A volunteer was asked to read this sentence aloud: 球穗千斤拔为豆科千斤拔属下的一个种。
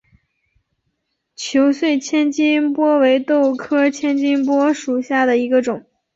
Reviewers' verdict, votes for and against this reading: accepted, 6, 0